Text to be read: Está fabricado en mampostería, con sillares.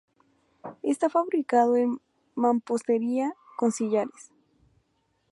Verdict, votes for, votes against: rejected, 0, 2